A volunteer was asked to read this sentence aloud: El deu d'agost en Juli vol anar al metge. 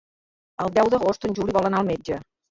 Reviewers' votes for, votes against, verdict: 2, 0, accepted